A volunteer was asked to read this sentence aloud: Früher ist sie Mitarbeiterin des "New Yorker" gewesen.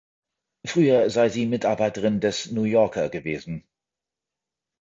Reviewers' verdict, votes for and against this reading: rejected, 0, 2